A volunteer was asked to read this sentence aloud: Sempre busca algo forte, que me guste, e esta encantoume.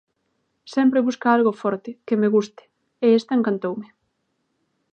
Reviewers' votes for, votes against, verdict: 2, 0, accepted